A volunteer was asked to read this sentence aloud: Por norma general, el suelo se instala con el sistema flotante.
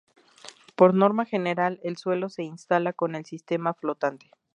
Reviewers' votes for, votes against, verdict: 0, 2, rejected